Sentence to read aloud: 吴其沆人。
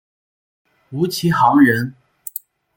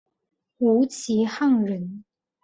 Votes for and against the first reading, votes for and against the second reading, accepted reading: 1, 2, 2, 1, second